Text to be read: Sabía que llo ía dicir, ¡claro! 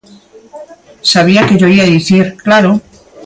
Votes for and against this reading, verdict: 2, 0, accepted